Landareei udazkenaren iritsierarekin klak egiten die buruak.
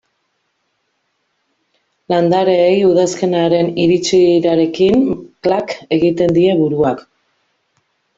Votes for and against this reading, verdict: 2, 1, accepted